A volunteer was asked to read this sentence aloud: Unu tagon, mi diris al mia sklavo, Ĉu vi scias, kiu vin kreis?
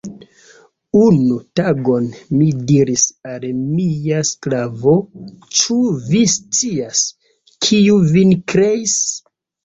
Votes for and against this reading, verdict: 3, 1, accepted